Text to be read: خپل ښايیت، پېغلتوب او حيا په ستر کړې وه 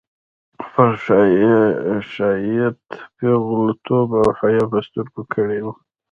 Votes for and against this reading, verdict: 0, 2, rejected